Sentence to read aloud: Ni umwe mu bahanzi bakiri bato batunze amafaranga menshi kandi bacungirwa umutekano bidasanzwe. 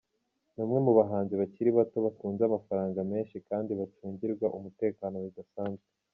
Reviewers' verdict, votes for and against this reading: accepted, 2, 0